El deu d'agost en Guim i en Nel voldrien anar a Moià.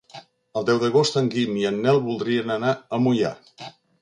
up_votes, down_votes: 2, 0